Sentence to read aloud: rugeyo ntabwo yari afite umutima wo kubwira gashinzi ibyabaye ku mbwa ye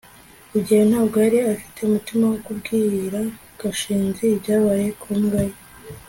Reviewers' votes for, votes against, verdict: 2, 0, accepted